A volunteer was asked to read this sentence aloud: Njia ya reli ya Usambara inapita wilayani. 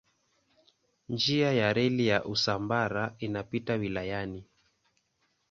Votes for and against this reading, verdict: 2, 0, accepted